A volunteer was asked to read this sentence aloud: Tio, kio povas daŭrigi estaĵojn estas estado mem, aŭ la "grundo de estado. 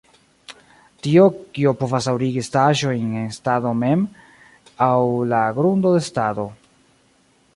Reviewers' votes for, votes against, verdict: 1, 2, rejected